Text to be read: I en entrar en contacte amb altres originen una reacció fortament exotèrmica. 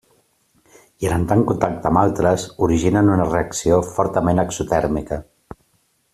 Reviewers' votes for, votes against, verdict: 2, 0, accepted